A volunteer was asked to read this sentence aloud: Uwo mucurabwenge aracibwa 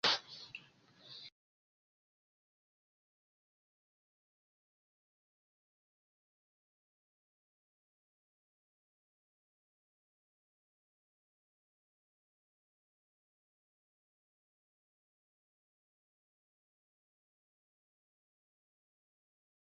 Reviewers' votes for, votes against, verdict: 0, 2, rejected